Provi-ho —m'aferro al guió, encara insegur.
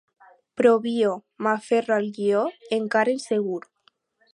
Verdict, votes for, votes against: rejected, 0, 4